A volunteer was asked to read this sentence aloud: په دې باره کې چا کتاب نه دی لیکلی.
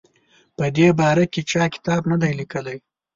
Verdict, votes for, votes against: accepted, 2, 0